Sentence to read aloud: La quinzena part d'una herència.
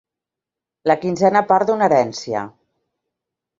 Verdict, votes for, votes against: accepted, 2, 0